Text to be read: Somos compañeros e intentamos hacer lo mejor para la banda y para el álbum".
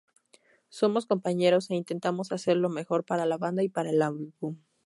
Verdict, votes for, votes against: rejected, 0, 2